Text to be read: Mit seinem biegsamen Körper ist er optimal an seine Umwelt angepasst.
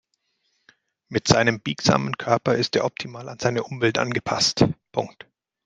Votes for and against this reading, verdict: 1, 2, rejected